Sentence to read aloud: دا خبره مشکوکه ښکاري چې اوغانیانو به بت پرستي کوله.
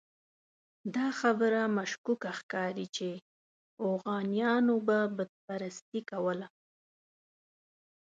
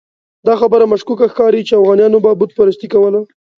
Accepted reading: second